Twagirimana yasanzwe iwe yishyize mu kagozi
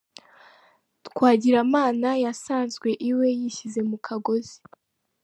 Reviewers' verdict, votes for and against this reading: rejected, 0, 2